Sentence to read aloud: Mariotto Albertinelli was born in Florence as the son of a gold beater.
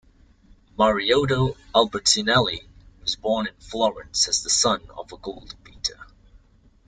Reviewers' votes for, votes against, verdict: 2, 0, accepted